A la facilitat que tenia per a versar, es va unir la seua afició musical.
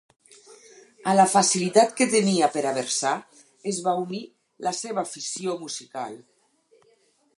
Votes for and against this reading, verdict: 4, 2, accepted